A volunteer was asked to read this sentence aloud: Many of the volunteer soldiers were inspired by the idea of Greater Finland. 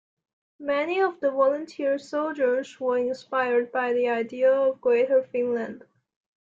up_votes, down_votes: 2, 0